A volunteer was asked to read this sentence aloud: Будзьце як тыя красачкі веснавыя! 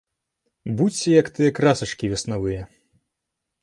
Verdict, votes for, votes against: accepted, 2, 0